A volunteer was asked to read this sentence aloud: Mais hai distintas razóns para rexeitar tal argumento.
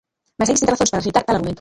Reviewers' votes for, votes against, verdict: 0, 2, rejected